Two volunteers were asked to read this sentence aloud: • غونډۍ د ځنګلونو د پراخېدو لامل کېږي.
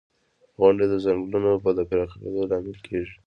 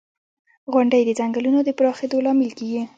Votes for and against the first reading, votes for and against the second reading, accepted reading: 2, 0, 0, 2, first